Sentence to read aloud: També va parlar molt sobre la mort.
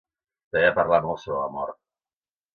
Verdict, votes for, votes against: accepted, 2, 0